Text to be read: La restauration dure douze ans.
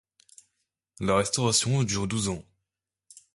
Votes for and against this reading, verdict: 2, 0, accepted